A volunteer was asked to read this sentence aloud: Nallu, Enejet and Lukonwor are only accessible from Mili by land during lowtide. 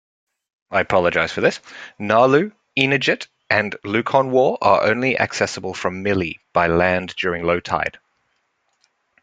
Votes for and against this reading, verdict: 1, 2, rejected